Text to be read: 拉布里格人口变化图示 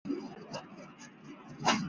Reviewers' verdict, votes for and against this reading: rejected, 1, 2